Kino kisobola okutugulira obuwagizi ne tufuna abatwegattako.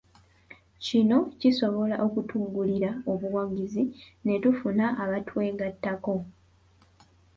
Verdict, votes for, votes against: rejected, 0, 2